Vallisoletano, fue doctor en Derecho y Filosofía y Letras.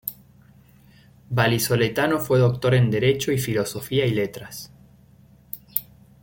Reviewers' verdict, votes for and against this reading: accepted, 2, 1